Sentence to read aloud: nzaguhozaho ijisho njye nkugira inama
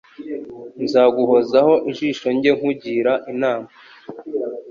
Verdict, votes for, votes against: accepted, 3, 0